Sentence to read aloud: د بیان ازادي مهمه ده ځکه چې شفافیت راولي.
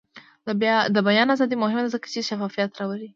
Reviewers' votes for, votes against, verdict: 2, 0, accepted